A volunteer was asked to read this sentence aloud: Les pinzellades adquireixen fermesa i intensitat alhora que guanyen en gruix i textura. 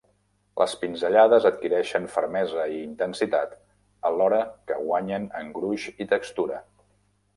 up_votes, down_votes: 0, 2